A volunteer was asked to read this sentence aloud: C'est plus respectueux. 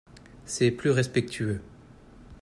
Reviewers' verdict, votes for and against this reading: accepted, 2, 0